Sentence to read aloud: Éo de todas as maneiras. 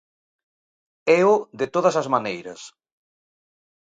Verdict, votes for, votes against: accepted, 2, 0